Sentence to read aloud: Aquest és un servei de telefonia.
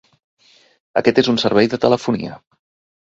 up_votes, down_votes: 2, 0